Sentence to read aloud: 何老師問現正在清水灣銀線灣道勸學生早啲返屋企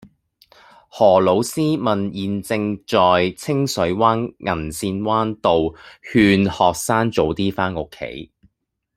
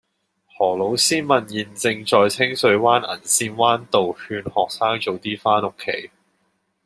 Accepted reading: second